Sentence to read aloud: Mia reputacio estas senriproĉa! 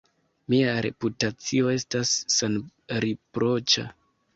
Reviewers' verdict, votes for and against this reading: accepted, 2, 0